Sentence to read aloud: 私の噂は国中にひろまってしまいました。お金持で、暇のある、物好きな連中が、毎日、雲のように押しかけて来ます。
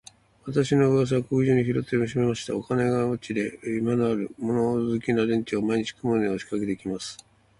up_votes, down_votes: 0, 2